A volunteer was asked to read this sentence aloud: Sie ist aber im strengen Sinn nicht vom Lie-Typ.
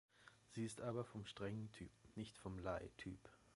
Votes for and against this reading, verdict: 0, 2, rejected